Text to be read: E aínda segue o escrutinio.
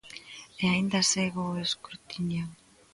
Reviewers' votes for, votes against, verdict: 2, 0, accepted